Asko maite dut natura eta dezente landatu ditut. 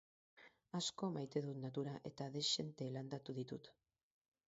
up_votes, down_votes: 4, 0